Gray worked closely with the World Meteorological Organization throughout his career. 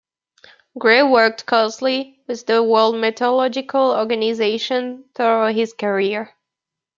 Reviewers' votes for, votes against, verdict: 1, 2, rejected